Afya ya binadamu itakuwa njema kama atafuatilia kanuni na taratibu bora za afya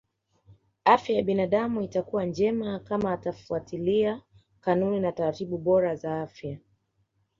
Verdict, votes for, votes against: accepted, 2, 0